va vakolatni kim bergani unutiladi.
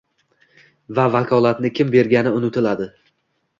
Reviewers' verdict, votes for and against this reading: accepted, 2, 1